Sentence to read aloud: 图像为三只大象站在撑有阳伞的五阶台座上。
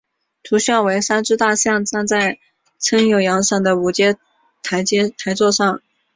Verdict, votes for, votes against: accepted, 7, 0